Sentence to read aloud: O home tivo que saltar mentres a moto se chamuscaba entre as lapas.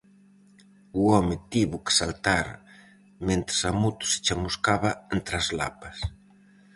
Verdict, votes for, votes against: accepted, 4, 0